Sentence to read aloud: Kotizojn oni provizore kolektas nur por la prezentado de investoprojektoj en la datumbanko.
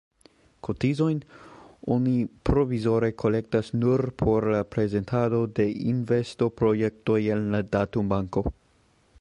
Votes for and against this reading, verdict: 2, 0, accepted